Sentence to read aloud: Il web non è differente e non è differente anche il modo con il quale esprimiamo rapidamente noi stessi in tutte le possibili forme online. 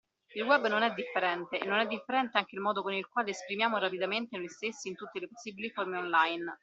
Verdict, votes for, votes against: accepted, 2, 0